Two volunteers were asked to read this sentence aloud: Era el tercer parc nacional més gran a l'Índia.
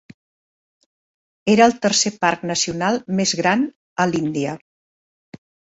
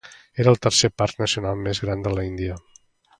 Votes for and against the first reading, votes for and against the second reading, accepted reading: 3, 0, 1, 2, first